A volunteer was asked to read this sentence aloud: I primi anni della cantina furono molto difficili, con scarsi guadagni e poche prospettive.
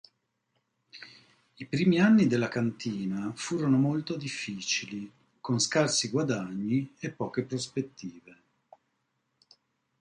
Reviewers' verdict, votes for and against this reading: accepted, 2, 0